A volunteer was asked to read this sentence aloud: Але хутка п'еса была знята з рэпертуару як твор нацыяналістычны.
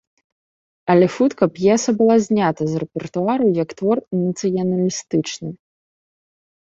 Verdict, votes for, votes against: accepted, 2, 0